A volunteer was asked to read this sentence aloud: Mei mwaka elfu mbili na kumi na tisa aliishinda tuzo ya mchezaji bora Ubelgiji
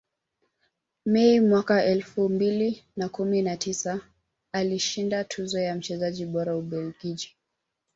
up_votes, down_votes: 0, 2